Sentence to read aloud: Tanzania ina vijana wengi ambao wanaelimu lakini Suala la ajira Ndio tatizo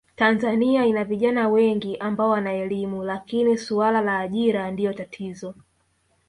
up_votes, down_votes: 1, 2